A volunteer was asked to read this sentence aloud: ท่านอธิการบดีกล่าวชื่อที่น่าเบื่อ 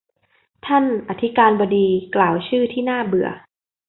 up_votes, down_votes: 2, 0